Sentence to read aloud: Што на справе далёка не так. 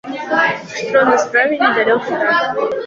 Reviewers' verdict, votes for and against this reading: rejected, 0, 2